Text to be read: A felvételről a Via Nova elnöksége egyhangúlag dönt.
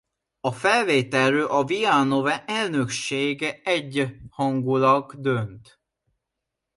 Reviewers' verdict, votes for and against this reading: rejected, 1, 2